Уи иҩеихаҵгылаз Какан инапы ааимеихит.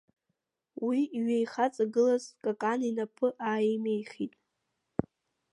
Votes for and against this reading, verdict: 1, 2, rejected